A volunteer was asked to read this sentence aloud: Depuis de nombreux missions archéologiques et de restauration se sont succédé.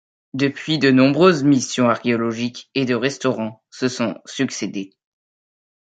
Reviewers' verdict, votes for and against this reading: rejected, 0, 2